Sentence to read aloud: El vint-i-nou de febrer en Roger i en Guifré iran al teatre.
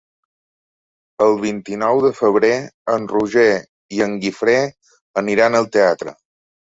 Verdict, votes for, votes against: rejected, 1, 2